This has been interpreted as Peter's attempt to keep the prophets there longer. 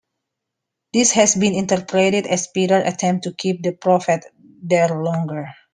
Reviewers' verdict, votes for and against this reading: rejected, 1, 2